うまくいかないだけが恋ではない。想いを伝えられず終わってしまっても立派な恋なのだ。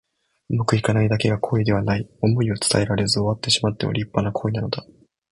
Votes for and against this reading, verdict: 2, 0, accepted